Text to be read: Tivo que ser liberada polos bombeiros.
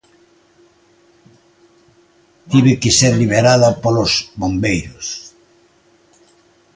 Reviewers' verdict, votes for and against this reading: rejected, 1, 2